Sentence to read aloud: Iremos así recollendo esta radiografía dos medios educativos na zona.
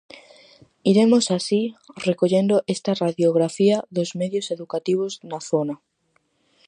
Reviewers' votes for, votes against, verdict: 4, 0, accepted